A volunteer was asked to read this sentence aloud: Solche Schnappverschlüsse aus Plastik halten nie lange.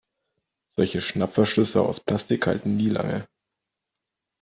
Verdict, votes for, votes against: accepted, 2, 0